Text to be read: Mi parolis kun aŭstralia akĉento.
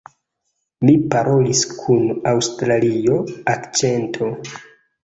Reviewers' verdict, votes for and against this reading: rejected, 0, 2